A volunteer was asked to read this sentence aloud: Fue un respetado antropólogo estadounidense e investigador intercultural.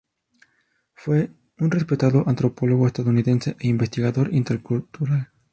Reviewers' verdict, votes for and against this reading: accepted, 2, 0